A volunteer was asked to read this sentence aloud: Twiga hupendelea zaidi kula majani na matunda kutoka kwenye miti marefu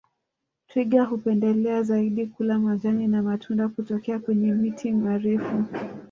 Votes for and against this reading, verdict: 1, 2, rejected